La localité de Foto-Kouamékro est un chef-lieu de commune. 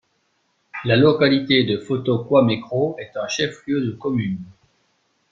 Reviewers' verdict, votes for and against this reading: accepted, 2, 0